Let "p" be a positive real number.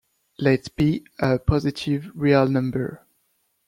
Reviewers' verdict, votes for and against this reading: rejected, 1, 2